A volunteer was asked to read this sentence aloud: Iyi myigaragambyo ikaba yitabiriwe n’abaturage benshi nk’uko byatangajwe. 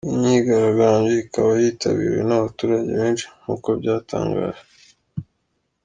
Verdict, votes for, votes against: accepted, 2, 0